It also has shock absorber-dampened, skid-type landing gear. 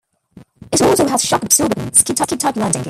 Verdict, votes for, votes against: rejected, 0, 2